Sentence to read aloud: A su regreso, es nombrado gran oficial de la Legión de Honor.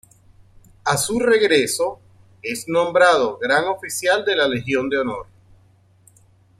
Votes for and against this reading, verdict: 2, 0, accepted